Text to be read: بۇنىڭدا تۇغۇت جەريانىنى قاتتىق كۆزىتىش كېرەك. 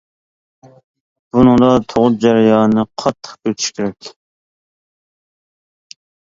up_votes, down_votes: 1, 2